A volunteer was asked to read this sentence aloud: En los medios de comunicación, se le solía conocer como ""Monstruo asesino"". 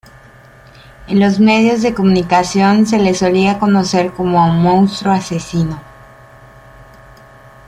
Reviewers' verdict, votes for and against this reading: accepted, 2, 1